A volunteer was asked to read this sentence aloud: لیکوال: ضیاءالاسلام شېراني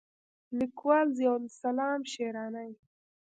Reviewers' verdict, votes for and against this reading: accepted, 2, 0